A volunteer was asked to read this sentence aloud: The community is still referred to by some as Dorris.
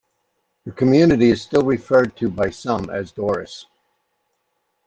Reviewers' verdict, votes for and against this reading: accepted, 2, 0